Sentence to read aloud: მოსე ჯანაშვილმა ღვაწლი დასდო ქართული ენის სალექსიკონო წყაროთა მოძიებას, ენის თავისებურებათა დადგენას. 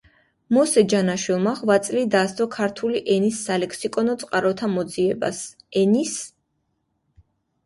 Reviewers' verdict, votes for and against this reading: rejected, 1, 2